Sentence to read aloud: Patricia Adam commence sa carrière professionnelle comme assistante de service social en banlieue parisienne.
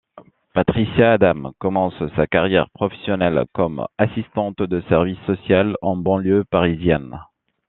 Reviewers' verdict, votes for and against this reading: accepted, 2, 1